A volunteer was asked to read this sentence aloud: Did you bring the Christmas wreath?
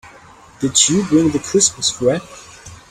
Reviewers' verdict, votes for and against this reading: rejected, 3, 5